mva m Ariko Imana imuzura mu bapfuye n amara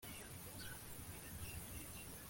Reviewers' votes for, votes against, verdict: 0, 2, rejected